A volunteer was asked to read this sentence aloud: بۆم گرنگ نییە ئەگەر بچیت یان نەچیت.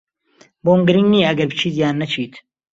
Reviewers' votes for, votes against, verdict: 2, 0, accepted